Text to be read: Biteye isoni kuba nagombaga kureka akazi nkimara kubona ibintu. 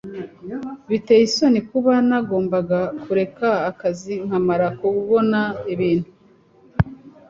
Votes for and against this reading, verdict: 0, 2, rejected